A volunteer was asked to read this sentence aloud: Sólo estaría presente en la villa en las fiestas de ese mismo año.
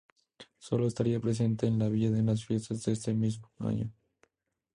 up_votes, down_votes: 2, 2